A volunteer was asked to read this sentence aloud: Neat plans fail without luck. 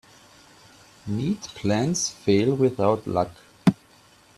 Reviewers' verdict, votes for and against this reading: accepted, 2, 0